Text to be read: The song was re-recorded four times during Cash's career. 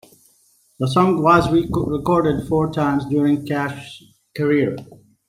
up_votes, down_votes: 0, 2